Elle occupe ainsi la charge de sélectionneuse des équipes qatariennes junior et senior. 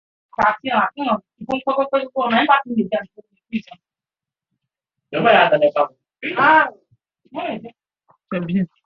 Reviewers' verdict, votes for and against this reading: rejected, 0, 2